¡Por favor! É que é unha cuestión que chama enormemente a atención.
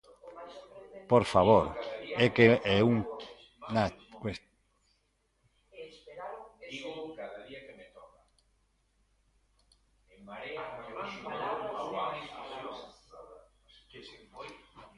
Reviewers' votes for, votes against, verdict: 0, 2, rejected